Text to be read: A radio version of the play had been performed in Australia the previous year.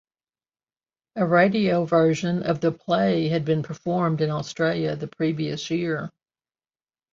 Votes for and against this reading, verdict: 2, 1, accepted